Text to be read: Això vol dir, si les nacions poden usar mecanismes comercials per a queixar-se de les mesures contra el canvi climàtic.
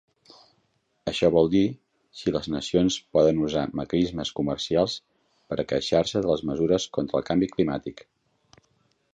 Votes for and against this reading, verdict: 1, 2, rejected